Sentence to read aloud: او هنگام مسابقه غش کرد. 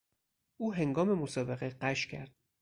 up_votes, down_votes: 6, 0